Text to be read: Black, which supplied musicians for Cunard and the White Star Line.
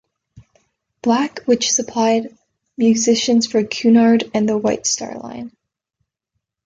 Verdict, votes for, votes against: accepted, 2, 0